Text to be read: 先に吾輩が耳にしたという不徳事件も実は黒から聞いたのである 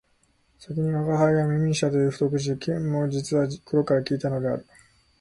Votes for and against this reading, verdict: 0, 2, rejected